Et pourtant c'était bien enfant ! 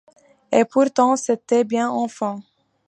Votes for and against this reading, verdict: 2, 0, accepted